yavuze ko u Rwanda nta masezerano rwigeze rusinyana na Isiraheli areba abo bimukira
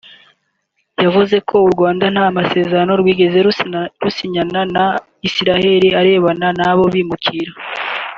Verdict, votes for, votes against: rejected, 1, 3